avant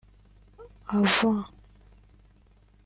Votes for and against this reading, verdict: 1, 2, rejected